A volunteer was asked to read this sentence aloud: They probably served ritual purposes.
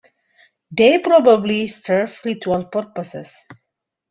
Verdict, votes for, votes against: accepted, 2, 1